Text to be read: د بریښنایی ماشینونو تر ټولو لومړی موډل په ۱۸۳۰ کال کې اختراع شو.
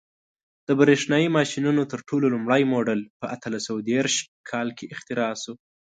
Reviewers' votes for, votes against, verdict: 0, 2, rejected